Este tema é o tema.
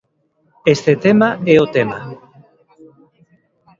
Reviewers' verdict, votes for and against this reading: accepted, 2, 1